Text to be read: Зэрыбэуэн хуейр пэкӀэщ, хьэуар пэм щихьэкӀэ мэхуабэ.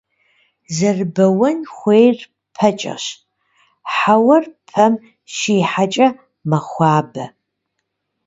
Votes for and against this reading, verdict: 1, 2, rejected